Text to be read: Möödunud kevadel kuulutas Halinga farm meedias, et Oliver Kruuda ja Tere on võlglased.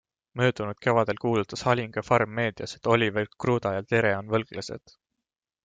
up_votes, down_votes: 2, 0